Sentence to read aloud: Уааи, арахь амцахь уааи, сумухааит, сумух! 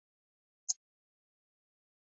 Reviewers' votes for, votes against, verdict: 1, 2, rejected